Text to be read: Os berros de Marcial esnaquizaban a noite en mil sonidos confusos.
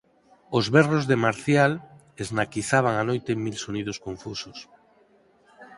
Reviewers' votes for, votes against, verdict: 4, 0, accepted